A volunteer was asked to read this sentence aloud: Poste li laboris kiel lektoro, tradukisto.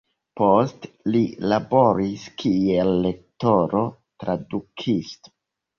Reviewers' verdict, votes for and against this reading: rejected, 1, 2